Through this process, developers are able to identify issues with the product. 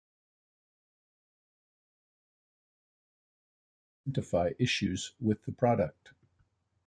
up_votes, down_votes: 0, 2